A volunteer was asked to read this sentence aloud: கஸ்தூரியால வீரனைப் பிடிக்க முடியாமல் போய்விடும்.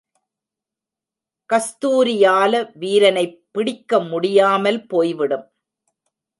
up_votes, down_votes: 1, 2